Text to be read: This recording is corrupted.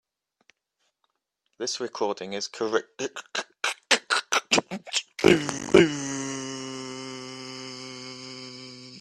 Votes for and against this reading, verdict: 0, 2, rejected